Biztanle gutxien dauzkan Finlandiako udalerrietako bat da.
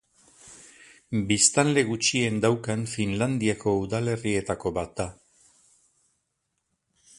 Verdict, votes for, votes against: rejected, 0, 4